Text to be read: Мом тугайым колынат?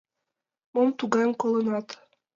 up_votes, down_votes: 2, 0